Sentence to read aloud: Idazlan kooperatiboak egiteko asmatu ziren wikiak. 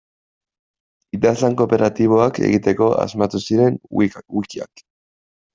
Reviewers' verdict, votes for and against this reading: rejected, 0, 2